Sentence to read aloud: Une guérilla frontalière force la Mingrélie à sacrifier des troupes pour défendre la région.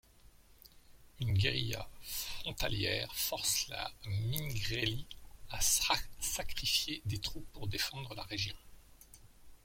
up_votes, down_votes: 0, 2